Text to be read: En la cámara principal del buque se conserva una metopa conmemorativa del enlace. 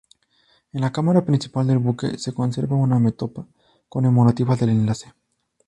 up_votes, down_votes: 2, 0